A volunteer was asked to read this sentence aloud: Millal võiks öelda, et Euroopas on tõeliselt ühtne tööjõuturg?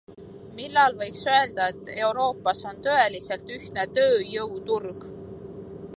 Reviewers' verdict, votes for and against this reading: accepted, 2, 0